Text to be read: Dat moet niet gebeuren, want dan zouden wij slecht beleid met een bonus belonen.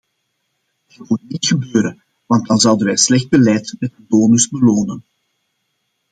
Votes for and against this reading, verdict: 0, 2, rejected